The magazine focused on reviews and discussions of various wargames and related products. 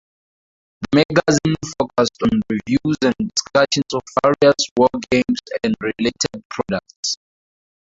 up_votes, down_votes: 0, 2